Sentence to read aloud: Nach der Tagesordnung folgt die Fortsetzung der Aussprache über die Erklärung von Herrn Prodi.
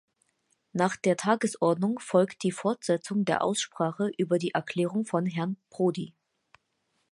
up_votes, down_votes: 6, 0